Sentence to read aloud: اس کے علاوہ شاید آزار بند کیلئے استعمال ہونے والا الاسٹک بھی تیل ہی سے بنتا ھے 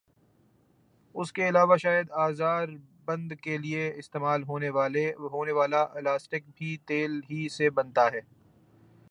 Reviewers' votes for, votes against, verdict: 2, 3, rejected